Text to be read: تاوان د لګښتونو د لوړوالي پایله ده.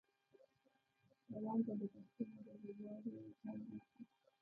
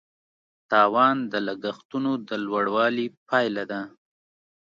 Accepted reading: second